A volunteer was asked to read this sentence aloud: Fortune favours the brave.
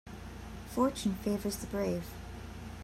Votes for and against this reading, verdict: 2, 1, accepted